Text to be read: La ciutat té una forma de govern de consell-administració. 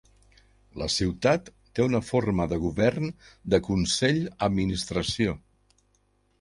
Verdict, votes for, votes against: accepted, 3, 0